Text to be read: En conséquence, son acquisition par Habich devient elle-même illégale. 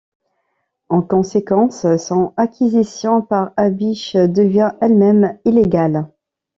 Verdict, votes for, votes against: accepted, 2, 0